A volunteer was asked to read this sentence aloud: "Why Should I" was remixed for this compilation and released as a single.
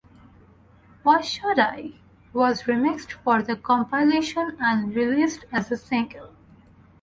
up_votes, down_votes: 2, 2